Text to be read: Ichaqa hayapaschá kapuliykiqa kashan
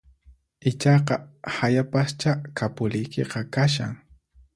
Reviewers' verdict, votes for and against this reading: accepted, 4, 0